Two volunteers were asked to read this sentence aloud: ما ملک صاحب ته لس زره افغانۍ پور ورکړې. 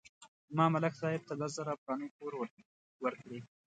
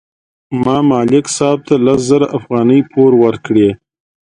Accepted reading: second